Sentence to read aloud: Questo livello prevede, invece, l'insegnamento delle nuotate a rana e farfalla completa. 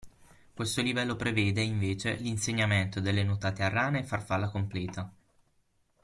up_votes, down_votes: 6, 0